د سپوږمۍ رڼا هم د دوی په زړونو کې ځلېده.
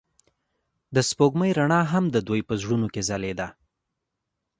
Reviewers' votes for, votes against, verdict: 2, 0, accepted